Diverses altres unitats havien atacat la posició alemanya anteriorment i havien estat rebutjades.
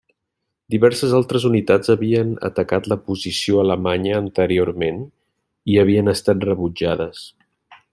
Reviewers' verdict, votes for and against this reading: accepted, 2, 0